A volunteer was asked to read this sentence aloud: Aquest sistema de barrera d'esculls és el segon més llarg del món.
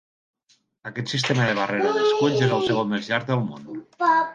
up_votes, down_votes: 1, 2